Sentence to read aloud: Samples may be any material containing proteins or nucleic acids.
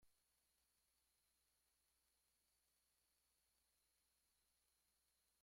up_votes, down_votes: 0, 2